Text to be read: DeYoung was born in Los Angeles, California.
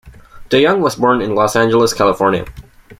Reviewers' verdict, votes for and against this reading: accepted, 2, 0